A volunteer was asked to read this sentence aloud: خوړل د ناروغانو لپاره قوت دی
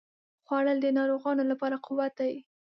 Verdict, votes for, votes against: accepted, 2, 0